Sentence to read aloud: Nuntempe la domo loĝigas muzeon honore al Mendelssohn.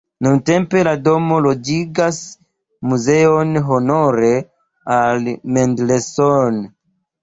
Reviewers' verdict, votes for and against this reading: rejected, 0, 2